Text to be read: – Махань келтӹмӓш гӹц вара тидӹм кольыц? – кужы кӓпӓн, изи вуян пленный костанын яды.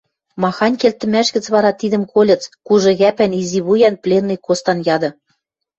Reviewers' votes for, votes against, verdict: 0, 2, rejected